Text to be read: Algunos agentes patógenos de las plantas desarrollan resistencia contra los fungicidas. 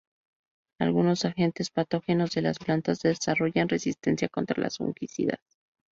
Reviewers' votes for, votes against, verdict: 0, 2, rejected